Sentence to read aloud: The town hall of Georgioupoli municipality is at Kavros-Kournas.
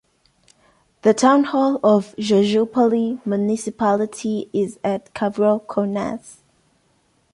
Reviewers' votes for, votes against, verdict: 2, 1, accepted